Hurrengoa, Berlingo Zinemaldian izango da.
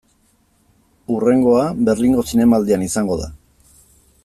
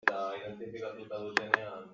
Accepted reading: first